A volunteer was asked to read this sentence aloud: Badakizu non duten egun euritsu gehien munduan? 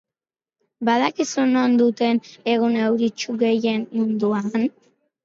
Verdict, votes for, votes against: accepted, 4, 0